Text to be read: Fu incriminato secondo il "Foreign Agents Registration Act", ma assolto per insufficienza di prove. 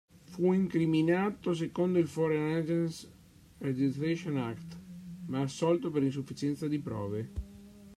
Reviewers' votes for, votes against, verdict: 1, 2, rejected